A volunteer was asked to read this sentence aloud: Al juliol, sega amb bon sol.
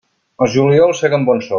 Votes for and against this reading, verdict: 1, 2, rejected